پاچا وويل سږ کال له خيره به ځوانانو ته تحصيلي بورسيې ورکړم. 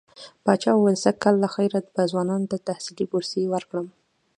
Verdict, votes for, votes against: accepted, 2, 0